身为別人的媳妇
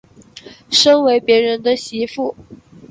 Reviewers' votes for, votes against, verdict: 2, 0, accepted